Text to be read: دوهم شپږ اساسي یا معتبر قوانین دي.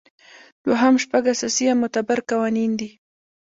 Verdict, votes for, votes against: rejected, 1, 2